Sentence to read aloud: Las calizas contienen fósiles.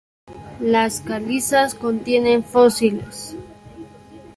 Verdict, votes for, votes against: accepted, 2, 0